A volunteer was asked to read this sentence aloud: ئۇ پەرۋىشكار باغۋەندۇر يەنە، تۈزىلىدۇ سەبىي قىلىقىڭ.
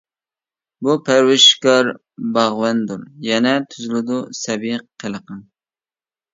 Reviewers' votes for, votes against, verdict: 0, 2, rejected